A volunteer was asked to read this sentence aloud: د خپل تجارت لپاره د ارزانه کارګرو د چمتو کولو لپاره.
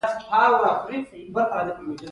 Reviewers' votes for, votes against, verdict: 0, 2, rejected